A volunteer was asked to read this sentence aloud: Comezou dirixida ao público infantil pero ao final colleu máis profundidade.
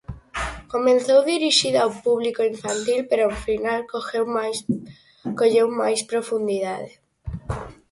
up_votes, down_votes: 0, 4